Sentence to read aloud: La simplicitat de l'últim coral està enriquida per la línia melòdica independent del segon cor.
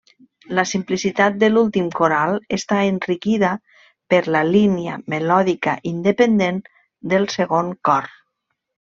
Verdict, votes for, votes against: accepted, 3, 0